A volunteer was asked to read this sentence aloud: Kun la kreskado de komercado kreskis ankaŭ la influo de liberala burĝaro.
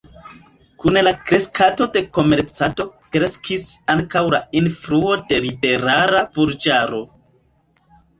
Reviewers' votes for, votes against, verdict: 1, 2, rejected